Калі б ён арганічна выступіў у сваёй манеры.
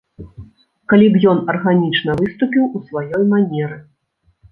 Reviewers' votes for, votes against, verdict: 2, 0, accepted